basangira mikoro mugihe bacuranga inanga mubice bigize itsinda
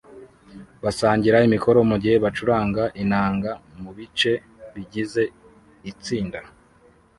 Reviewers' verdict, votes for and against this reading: rejected, 1, 2